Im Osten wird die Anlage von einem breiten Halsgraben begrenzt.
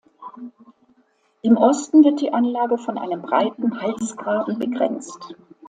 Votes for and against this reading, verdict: 2, 0, accepted